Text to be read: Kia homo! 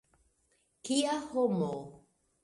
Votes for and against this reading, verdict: 2, 1, accepted